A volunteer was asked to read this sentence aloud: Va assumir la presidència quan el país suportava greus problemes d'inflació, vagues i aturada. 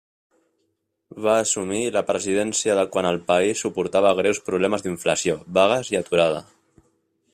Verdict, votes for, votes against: rejected, 1, 2